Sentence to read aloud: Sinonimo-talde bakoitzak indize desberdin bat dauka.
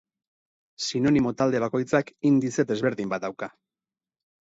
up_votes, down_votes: 6, 0